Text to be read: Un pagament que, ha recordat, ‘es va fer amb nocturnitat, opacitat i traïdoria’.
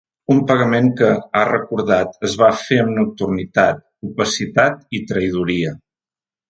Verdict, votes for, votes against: accepted, 2, 0